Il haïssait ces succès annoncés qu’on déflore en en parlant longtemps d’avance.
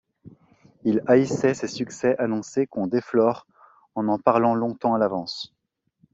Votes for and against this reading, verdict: 1, 2, rejected